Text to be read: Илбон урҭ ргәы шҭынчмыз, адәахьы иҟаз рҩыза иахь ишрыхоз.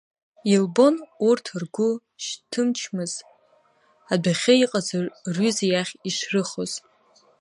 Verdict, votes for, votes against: rejected, 1, 2